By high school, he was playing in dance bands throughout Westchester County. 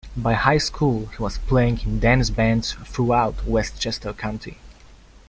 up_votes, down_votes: 2, 0